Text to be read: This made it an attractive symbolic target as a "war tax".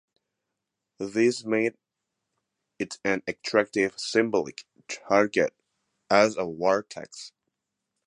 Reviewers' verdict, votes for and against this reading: accepted, 2, 0